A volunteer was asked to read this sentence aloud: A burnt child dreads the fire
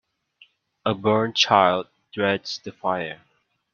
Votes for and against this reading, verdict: 2, 0, accepted